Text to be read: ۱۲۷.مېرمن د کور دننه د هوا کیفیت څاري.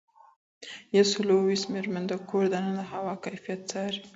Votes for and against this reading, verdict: 0, 2, rejected